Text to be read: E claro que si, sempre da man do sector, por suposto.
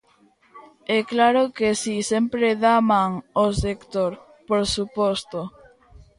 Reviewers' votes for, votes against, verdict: 0, 2, rejected